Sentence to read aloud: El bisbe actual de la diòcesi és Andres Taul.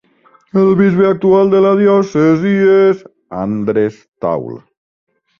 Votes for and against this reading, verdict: 0, 2, rejected